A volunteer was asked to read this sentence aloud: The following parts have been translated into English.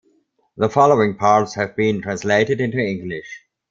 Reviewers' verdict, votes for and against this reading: accepted, 2, 0